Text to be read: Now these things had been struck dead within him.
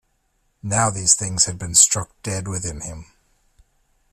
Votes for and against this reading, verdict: 2, 0, accepted